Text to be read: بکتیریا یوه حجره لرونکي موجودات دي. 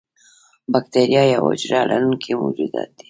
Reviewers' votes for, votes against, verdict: 2, 0, accepted